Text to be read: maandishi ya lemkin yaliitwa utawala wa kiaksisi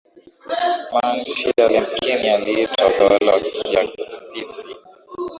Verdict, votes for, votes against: accepted, 3, 1